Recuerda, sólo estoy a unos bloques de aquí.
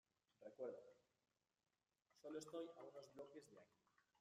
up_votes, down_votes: 0, 2